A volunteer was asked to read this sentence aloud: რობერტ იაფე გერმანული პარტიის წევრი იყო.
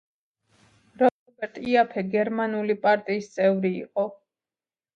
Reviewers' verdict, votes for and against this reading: accepted, 2, 0